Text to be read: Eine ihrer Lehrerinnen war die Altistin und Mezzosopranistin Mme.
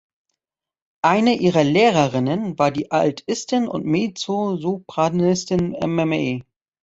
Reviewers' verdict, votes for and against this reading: rejected, 1, 2